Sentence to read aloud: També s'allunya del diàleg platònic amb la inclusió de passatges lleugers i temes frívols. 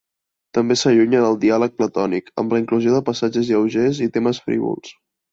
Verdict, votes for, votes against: accepted, 2, 0